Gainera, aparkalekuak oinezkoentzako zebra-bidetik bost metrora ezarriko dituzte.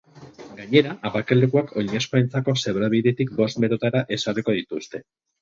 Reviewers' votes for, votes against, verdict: 0, 4, rejected